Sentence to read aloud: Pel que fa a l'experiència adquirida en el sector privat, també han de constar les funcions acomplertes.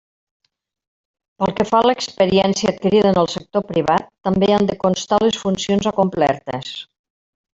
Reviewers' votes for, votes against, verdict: 3, 1, accepted